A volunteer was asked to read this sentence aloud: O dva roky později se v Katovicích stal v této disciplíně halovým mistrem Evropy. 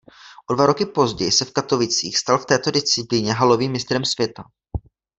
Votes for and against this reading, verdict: 0, 2, rejected